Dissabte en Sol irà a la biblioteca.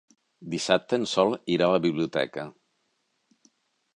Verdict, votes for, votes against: accepted, 3, 0